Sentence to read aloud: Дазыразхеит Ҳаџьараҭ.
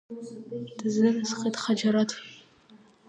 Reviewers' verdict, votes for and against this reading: rejected, 1, 2